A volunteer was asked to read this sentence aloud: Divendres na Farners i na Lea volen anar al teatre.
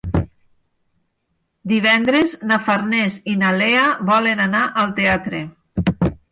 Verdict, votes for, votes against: accepted, 4, 0